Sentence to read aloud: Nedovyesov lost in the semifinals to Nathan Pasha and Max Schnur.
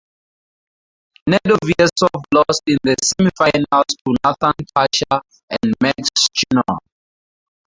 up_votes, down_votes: 2, 4